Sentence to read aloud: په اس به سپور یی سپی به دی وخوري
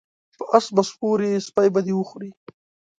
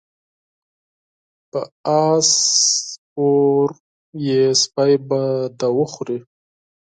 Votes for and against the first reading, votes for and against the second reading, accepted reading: 2, 0, 0, 4, first